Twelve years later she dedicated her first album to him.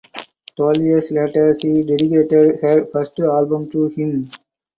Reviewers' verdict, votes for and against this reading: accepted, 4, 0